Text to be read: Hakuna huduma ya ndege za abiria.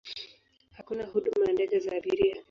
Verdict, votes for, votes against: rejected, 4, 9